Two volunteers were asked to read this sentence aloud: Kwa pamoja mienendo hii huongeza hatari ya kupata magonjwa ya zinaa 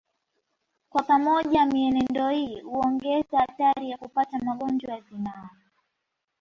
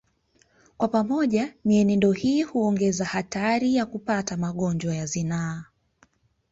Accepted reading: first